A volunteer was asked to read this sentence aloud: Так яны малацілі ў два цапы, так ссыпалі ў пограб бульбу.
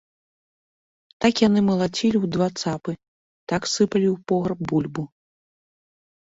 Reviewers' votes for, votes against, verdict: 0, 2, rejected